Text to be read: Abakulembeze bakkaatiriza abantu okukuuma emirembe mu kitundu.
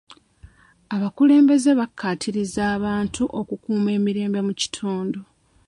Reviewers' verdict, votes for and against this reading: accepted, 2, 0